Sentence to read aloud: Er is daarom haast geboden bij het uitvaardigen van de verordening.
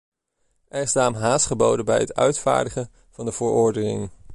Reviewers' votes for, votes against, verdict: 0, 2, rejected